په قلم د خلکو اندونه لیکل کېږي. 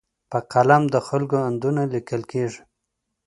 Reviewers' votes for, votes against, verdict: 2, 0, accepted